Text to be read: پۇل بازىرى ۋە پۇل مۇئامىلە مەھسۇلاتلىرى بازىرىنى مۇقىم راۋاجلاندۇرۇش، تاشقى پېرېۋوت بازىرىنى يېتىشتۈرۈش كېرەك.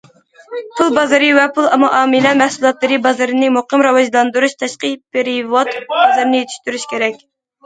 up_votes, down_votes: 1, 2